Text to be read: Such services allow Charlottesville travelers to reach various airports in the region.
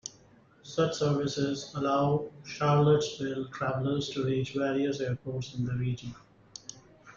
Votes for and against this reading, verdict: 0, 2, rejected